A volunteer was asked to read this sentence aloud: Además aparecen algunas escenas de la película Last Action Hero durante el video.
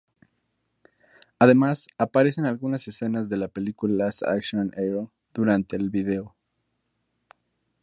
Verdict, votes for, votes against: rejected, 2, 2